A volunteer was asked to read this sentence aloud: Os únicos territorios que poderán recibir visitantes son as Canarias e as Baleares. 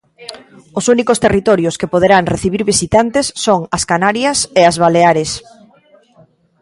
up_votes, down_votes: 1, 2